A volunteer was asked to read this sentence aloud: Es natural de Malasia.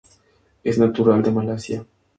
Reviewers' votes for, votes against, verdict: 2, 0, accepted